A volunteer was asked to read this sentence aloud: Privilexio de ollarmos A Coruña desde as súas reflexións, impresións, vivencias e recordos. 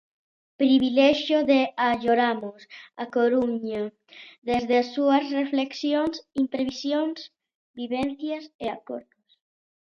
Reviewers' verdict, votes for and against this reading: rejected, 0, 2